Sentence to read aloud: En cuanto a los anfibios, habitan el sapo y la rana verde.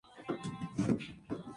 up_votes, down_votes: 0, 4